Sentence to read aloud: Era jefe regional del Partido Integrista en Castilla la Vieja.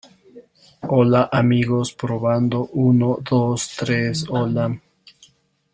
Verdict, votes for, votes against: rejected, 0, 2